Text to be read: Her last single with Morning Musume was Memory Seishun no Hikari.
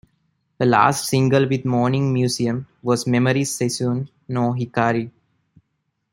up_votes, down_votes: 2, 0